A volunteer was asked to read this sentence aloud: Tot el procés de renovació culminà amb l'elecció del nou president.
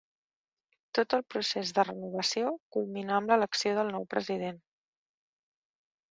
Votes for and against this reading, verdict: 4, 0, accepted